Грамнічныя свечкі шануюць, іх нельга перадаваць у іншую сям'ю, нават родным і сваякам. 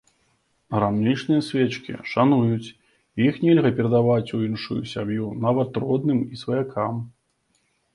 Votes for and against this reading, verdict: 2, 0, accepted